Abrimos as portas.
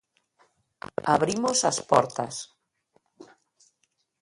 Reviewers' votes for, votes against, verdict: 2, 0, accepted